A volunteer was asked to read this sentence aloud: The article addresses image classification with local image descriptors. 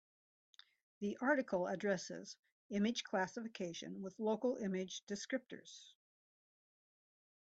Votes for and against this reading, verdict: 3, 0, accepted